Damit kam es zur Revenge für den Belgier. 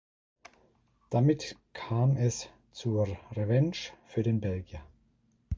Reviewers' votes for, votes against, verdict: 1, 2, rejected